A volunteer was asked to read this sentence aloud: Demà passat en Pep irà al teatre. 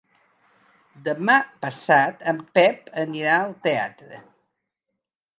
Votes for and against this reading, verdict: 0, 2, rejected